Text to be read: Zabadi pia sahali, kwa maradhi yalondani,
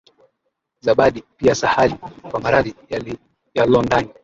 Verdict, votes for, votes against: rejected, 1, 2